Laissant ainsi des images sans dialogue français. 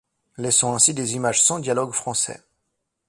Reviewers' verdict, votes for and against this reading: accepted, 2, 1